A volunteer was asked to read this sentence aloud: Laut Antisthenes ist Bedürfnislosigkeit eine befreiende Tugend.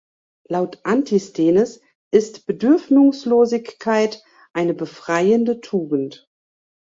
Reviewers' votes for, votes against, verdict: 0, 2, rejected